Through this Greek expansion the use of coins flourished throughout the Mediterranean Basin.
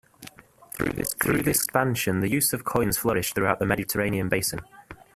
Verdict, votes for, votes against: rejected, 0, 2